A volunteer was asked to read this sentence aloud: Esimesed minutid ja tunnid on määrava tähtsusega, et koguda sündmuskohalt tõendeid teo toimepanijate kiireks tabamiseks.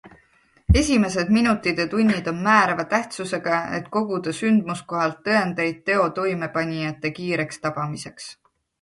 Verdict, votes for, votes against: accepted, 2, 0